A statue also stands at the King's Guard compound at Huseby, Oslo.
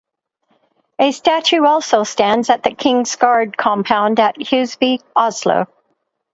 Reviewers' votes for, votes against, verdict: 2, 0, accepted